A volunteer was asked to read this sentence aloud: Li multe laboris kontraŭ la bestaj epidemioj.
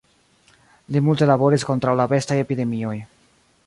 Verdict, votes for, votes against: rejected, 1, 2